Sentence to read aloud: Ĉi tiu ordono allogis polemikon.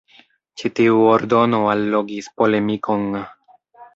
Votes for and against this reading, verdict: 3, 1, accepted